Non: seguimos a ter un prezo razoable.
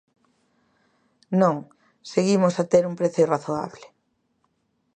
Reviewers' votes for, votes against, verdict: 2, 0, accepted